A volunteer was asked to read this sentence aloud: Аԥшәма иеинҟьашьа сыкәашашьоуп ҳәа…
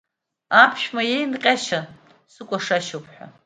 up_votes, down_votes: 2, 0